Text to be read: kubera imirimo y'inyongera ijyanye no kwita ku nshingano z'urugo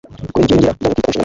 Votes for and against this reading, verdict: 2, 0, accepted